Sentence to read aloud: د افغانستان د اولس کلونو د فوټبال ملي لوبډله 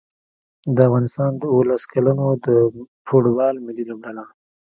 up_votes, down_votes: 1, 2